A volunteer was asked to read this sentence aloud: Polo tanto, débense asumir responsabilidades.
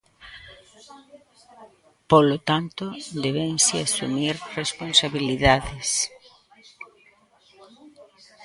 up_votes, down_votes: 0, 2